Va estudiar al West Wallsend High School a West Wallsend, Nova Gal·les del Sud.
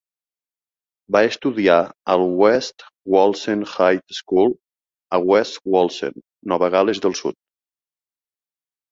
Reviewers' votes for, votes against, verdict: 2, 0, accepted